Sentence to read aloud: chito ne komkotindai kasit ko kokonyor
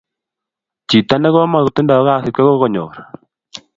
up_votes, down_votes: 2, 0